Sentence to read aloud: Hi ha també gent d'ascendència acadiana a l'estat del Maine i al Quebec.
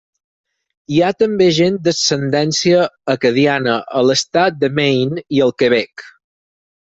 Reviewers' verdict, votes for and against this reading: rejected, 0, 4